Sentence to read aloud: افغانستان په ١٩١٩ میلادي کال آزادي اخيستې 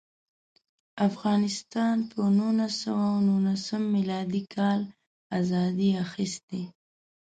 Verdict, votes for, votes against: rejected, 0, 2